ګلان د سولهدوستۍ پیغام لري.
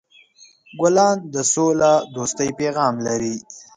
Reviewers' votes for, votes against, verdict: 2, 0, accepted